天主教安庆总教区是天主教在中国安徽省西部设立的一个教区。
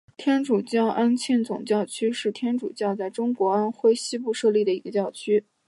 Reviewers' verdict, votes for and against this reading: rejected, 1, 2